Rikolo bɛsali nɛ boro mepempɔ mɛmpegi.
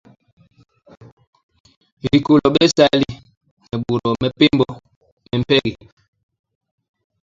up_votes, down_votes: 0, 2